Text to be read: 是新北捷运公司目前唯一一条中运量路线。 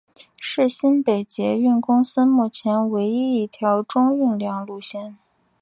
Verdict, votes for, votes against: accepted, 2, 0